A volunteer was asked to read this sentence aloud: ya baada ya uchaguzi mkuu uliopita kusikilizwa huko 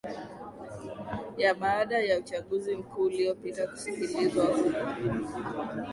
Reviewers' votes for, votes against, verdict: 4, 2, accepted